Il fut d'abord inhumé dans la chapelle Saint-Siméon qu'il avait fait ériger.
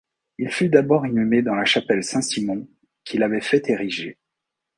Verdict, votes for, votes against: rejected, 1, 2